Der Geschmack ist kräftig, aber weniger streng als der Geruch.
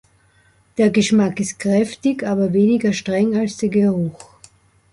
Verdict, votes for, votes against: accepted, 2, 0